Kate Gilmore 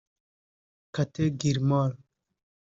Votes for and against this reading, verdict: 1, 2, rejected